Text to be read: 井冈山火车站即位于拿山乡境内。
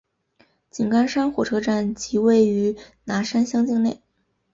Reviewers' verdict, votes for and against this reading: accepted, 2, 1